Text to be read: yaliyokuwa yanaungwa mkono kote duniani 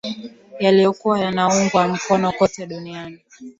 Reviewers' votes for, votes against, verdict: 15, 1, accepted